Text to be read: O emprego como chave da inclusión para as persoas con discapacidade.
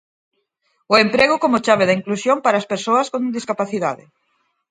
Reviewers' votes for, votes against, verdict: 6, 0, accepted